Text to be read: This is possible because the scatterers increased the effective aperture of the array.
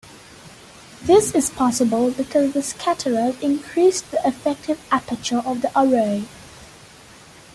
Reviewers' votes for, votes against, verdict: 2, 1, accepted